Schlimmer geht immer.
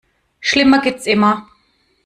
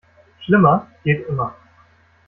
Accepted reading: second